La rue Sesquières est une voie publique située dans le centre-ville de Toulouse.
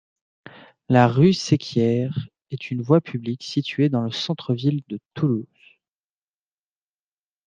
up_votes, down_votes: 2, 0